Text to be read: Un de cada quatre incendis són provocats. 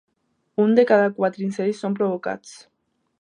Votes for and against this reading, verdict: 2, 1, accepted